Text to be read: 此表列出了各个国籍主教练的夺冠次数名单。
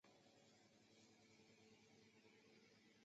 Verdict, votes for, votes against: rejected, 0, 2